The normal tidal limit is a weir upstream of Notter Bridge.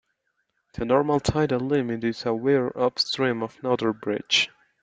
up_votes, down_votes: 2, 1